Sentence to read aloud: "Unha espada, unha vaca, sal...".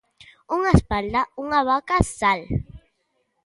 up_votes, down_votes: 0, 2